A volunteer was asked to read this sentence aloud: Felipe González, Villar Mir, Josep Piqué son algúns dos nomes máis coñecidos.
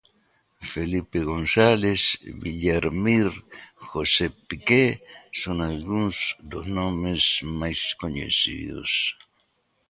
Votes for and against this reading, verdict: 2, 0, accepted